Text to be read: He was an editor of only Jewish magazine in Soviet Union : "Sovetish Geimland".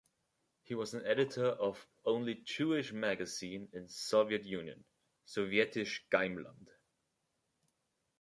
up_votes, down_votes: 2, 0